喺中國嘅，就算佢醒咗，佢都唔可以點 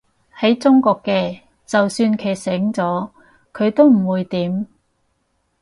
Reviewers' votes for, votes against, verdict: 2, 4, rejected